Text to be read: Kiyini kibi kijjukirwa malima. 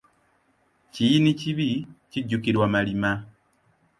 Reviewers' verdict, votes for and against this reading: accepted, 2, 0